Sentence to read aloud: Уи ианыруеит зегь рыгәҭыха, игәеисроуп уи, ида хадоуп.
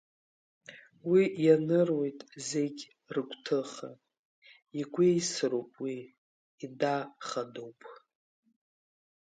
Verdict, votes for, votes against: rejected, 1, 2